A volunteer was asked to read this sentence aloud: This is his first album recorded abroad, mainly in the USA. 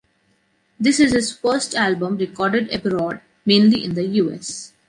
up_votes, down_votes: 0, 2